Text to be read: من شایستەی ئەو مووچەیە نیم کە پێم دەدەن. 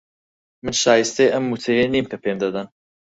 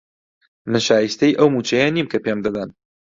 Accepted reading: second